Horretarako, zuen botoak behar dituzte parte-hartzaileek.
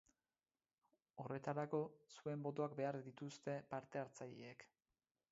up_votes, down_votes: 2, 4